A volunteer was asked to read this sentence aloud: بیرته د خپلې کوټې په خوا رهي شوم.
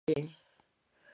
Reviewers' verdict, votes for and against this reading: rejected, 1, 2